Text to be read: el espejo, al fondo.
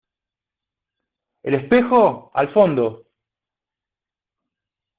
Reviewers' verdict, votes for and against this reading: accepted, 2, 0